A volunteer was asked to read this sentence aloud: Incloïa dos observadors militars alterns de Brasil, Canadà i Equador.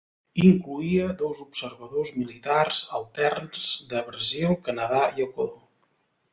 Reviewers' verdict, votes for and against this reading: accepted, 2, 0